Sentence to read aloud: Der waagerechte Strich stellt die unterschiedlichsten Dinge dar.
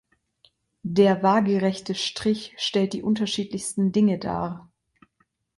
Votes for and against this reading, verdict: 2, 0, accepted